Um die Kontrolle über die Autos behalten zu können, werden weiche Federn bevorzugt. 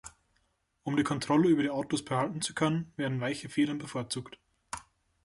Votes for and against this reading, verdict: 2, 0, accepted